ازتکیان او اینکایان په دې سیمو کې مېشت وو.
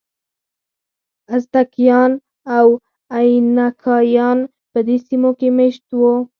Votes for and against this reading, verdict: 4, 6, rejected